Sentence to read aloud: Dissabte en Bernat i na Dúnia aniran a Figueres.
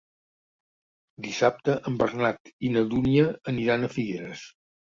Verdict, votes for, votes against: accepted, 2, 0